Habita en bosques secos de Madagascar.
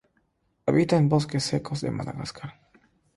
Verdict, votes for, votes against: accepted, 3, 0